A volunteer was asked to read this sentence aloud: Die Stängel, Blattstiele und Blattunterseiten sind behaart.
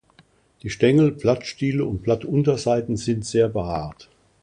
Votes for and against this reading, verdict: 0, 2, rejected